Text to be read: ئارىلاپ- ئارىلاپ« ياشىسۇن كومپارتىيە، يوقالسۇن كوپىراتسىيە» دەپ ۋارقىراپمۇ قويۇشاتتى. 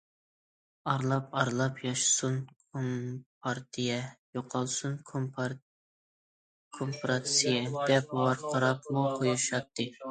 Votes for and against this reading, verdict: 0, 2, rejected